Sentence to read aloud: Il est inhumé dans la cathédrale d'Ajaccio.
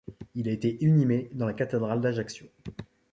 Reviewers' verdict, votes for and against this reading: rejected, 1, 2